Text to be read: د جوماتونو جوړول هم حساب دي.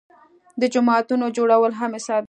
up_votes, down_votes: 2, 0